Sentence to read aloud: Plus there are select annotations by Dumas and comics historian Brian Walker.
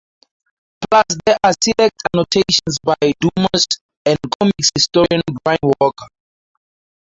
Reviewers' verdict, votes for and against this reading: rejected, 2, 2